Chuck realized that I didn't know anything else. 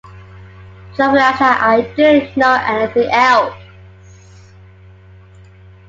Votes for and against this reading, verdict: 1, 2, rejected